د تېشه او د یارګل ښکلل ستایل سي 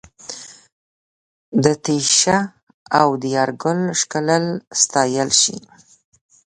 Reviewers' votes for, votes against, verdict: 1, 2, rejected